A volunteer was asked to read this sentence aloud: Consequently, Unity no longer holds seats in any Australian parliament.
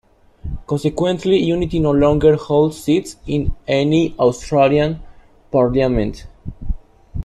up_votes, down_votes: 2, 0